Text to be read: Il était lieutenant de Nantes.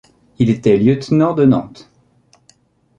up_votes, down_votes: 2, 0